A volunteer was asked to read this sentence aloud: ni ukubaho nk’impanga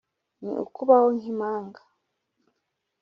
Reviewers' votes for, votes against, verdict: 3, 0, accepted